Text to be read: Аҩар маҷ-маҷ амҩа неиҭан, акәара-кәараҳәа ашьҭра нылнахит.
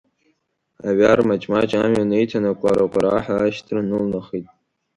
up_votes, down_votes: 3, 0